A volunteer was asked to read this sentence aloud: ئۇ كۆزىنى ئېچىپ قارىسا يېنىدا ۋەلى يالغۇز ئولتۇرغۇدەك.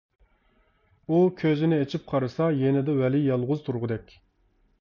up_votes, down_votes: 0, 2